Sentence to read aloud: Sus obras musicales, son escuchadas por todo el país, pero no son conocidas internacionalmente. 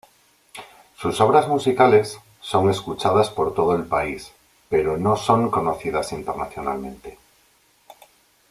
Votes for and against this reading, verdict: 2, 0, accepted